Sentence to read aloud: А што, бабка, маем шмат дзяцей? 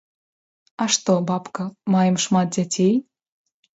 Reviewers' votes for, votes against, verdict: 2, 0, accepted